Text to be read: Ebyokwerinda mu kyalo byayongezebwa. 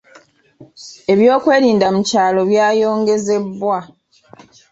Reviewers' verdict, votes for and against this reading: rejected, 1, 2